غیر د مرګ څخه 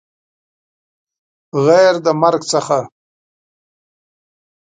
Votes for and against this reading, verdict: 2, 0, accepted